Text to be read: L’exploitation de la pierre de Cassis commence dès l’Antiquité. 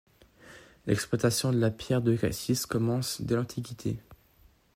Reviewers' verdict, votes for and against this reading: accepted, 2, 0